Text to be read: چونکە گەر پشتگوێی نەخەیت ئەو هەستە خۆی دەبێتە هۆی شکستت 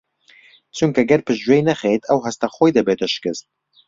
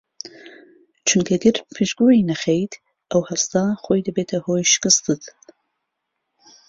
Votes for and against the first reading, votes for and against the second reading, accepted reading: 2, 3, 2, 0, second